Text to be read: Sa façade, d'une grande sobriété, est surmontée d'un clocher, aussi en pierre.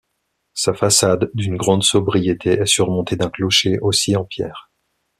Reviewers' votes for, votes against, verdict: 2, 0, accepted